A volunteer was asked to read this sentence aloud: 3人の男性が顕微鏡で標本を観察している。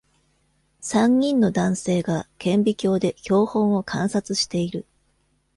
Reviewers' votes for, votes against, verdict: 0, 2, rejected